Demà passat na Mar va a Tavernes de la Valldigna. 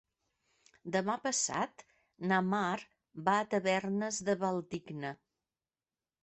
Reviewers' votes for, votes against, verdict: 0, 2, rejected